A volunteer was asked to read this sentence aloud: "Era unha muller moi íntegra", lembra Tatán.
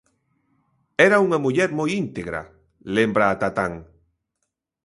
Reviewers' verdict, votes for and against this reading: accepted, 2, 0